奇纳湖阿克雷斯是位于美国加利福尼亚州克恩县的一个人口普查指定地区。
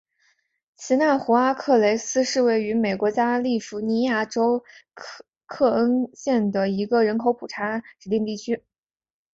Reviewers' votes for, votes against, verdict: 3, 0, accepted